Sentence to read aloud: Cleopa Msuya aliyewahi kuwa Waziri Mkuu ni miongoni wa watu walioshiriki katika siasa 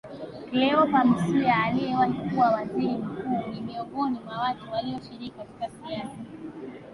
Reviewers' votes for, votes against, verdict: 1, 2, rejected